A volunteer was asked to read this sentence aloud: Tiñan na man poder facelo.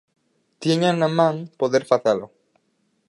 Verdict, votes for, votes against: accepted, 6, 2